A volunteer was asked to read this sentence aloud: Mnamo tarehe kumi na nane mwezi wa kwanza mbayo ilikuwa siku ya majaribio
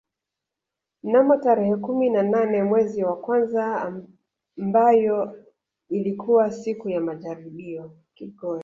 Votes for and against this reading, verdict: 2, 1, accepted